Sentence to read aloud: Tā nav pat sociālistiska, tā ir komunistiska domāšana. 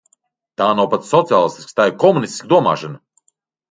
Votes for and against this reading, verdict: 2, 0, accepted